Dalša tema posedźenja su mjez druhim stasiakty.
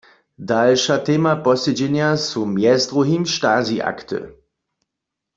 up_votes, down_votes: 2, 0